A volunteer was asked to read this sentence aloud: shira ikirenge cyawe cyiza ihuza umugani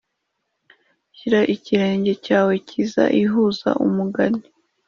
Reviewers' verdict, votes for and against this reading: accepted, 2, 0